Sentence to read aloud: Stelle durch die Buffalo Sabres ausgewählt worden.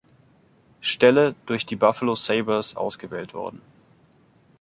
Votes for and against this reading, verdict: 3, 0, accepted